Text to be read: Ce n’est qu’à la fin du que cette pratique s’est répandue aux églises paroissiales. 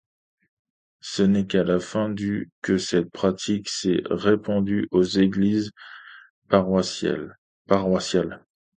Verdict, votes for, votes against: rejected, 0, 2